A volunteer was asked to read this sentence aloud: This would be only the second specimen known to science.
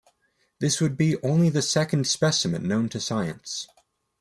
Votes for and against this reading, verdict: 2, 0, accepted